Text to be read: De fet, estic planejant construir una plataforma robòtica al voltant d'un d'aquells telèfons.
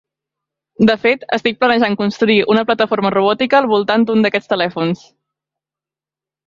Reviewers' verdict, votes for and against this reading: rejected, 1, 2